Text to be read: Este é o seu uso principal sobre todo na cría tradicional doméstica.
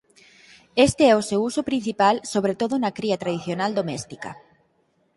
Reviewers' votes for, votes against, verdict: 6, 0, accepted